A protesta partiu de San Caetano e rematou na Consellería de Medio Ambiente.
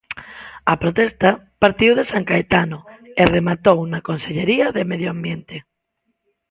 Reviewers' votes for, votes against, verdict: 2, 1, accepted